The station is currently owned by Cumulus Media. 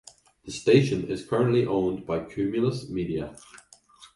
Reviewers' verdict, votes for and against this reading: accepted, 2, 0